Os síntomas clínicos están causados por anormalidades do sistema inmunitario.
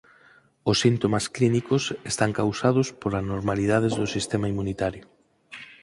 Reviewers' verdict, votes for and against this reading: accepted, 4, 0